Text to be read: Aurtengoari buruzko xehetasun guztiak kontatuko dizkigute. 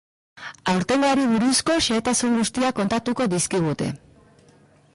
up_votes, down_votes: 3, 1